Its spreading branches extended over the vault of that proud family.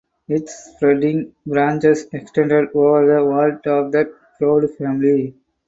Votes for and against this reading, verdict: 4, 0, accepted